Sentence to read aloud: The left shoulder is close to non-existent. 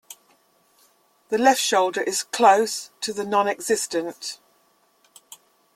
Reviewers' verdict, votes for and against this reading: rejected, 0, 2